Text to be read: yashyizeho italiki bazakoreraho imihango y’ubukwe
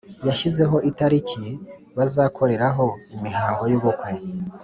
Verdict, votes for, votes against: accepted, 3, 0